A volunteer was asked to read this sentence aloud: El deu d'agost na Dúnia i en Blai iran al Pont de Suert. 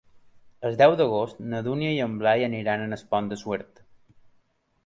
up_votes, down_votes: 0, 2